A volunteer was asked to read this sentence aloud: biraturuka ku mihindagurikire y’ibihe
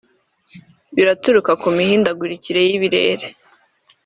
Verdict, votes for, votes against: rejected, 1, 2